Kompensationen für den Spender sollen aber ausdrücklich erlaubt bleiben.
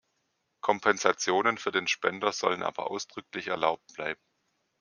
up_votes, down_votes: 1, 2